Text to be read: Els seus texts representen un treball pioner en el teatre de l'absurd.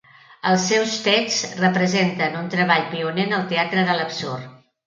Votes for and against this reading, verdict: 4, 0, accepted